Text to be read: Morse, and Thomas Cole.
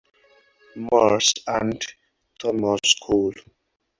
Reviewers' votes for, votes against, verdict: 4, 0, accepted